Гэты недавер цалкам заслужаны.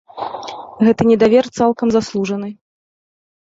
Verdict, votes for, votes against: accepted, 2, 0